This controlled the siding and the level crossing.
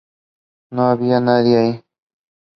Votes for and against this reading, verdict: 0, 2, rejected